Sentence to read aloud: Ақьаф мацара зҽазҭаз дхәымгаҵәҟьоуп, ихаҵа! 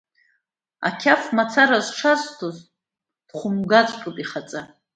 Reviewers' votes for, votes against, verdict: 2, 0, accepted